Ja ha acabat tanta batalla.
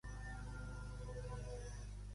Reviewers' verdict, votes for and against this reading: rejected, 0, 2